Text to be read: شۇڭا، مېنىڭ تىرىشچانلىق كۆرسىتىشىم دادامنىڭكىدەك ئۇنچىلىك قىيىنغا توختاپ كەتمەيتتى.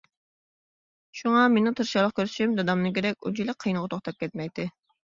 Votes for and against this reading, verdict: 1, 2, rejected